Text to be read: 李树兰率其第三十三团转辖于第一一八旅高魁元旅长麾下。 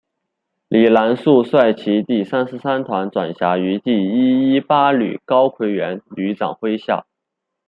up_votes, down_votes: 0, 2